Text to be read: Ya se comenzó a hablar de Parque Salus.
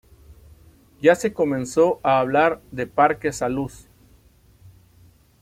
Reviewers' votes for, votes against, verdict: 2, 0, accepted